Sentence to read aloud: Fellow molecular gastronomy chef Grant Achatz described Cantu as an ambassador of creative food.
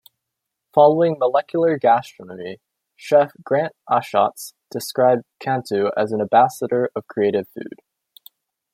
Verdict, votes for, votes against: rejected, 0, 2